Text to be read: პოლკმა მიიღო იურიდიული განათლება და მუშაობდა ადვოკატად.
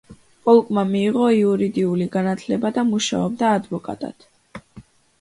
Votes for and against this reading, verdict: 2, 0, accepted